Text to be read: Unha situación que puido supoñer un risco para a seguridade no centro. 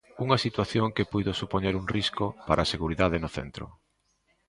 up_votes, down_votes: 2, 0